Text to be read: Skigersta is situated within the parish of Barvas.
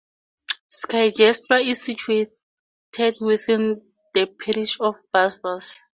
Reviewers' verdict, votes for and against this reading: accepted, 4, 0